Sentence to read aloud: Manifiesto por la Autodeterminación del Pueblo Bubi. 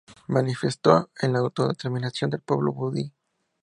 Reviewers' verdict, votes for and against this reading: rejected, 0, 2